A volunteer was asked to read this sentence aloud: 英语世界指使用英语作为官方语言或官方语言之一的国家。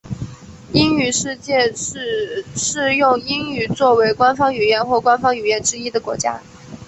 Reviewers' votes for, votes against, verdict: 4, 0, accepted